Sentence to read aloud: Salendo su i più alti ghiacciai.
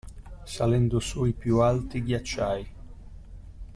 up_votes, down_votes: 2, 0